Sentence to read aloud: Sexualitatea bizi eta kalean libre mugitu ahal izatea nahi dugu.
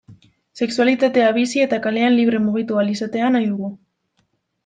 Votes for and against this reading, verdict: 2, 1, accepted